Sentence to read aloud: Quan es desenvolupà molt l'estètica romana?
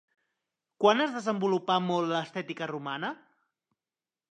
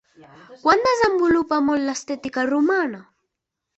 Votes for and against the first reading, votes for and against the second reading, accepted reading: 3, 0, 0, 2, first